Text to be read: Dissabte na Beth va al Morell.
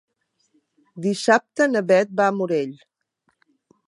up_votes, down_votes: 1, 2